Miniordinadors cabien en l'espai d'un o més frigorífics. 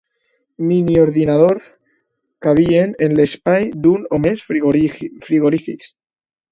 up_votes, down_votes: 0, 2